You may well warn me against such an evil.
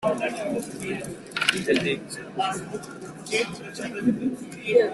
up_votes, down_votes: 0, 2